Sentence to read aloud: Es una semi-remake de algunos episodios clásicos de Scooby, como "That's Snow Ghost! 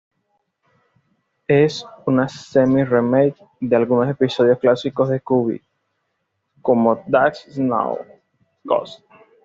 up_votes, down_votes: 2, 0